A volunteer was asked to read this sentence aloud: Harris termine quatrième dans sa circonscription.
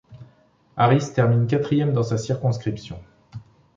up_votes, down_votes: 2, 0